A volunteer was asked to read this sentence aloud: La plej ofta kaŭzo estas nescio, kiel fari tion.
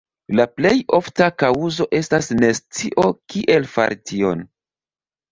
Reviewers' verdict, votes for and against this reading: accepted, 2, 1